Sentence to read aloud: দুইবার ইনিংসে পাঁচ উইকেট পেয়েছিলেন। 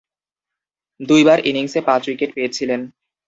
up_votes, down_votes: 0, 2